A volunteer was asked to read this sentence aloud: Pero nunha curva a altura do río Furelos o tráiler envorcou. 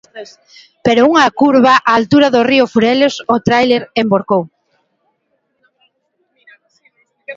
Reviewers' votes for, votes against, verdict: 0, 2, rejected